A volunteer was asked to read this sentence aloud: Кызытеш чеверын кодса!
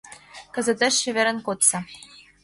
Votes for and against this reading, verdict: 2, 0, accepted